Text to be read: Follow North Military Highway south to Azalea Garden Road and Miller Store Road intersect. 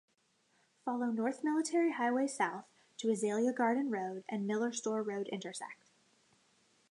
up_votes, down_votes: 2, 0